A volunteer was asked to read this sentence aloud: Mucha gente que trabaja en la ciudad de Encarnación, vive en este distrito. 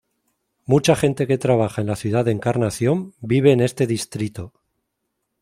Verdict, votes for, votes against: accepted, 2, 0